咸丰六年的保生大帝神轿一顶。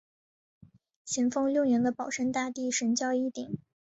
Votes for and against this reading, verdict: 0, 2, rejected